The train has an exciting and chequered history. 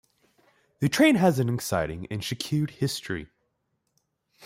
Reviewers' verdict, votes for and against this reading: rejected, 0, 2